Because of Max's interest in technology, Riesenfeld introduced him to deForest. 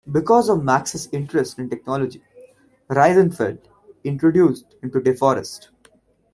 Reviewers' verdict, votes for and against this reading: rejected, 1, 2